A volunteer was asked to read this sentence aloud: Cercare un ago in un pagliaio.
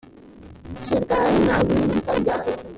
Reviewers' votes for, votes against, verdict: 0, 2, rejected